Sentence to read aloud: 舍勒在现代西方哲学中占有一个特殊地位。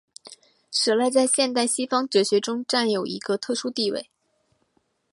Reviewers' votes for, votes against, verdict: 1, 2, rejected